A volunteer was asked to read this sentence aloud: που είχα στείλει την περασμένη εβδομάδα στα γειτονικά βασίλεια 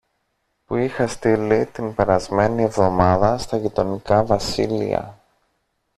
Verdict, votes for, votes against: accepted, 2, 0